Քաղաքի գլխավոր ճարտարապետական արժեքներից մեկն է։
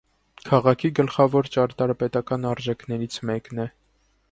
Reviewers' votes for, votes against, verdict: 1, 2, rejected